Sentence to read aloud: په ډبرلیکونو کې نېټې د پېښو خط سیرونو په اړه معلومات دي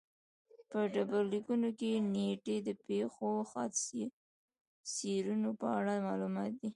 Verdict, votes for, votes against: rejected, 1, 2